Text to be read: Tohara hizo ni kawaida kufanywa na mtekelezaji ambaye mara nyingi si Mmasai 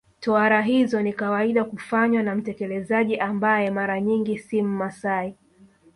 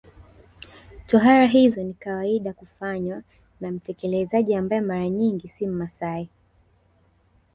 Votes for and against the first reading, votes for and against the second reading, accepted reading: 1, 2, 3, 1, second